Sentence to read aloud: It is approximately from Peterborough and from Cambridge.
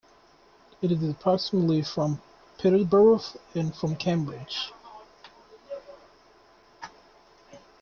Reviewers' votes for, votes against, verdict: 0, 2, rejected